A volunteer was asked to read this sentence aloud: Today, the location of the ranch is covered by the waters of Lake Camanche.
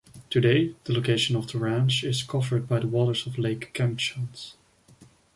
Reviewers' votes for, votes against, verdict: 0, 2, rejected